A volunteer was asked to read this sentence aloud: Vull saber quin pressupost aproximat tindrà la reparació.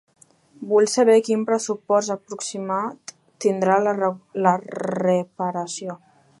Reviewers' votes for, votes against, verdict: 1, 2, rejected